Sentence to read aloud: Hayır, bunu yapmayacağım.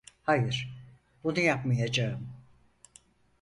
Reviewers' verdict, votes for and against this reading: accepted, 4, 0